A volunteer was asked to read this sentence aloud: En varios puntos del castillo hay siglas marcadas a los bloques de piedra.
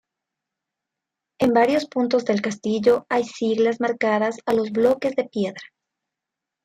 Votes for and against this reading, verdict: 0, 2, rejected